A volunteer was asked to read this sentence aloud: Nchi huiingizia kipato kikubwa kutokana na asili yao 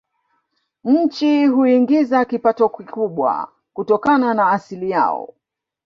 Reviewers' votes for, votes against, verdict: 0, 2, rejected